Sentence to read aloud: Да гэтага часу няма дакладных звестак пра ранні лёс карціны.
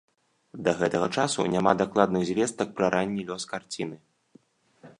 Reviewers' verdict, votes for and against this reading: accepted, 2, 0